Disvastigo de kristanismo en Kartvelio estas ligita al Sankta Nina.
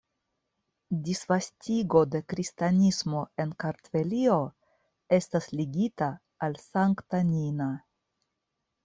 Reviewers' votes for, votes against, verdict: 2, 0, accepted